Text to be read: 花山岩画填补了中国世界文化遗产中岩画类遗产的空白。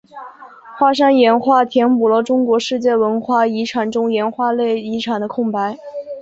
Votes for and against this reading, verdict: 9, 1, accepted